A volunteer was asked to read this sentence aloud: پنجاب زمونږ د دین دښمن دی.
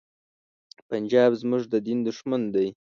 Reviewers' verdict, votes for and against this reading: accepted, 2, 0